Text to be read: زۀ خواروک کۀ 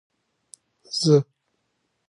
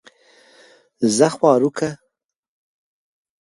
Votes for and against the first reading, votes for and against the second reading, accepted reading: 1, 3, 2, 0, second